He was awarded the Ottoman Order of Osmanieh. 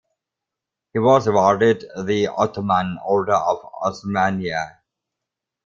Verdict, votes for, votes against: rejected, 0, 2